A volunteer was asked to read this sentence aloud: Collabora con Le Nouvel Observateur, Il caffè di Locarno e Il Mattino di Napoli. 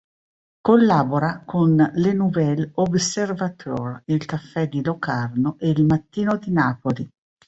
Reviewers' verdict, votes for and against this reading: accepted, 3, 0